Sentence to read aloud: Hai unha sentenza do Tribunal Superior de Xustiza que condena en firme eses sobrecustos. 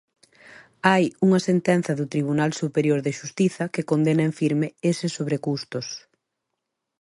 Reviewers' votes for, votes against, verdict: 2, 0, accepted